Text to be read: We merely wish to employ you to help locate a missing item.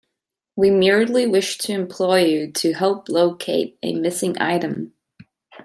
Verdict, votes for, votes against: rejected, 1, 2